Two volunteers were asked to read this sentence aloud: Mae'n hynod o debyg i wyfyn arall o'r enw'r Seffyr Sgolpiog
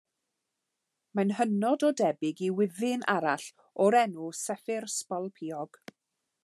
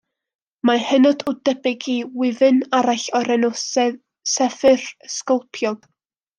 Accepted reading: second